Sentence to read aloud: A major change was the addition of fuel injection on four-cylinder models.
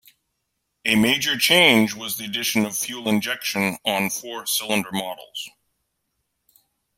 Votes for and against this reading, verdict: 2, 0, accepted